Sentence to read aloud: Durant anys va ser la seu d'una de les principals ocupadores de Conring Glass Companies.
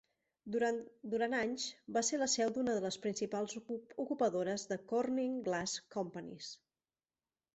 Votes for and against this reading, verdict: 0, 2, rejected